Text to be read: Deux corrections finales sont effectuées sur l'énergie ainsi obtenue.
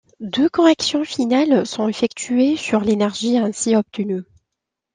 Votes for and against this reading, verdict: 2, 0, accepted